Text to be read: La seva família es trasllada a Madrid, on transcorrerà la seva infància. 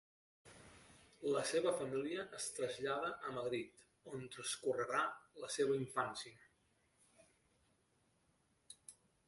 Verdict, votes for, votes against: rejected, 1, 2